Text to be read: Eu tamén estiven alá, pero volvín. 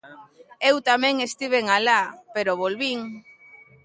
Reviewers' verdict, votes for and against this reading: accepted, 2, 0